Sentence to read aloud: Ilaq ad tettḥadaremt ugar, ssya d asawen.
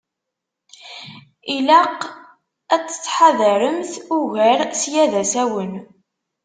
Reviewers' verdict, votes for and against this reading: accepted, 2, 0